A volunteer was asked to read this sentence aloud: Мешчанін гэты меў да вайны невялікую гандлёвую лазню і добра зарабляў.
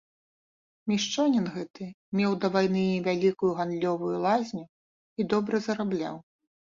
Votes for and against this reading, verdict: 3, 0, accepted